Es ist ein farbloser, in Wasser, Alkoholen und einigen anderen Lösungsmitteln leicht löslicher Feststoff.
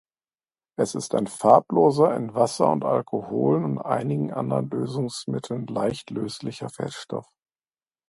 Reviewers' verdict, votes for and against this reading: rejected, 0, 2